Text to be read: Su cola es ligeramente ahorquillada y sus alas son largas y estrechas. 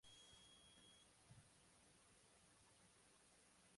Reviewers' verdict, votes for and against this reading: rejected, 0, 2